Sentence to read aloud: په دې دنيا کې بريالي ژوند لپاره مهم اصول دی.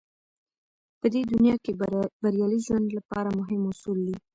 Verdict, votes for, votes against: accepted, 2, 0